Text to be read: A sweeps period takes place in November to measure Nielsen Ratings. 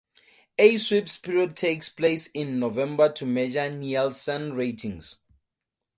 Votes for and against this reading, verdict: 0, 2, rejected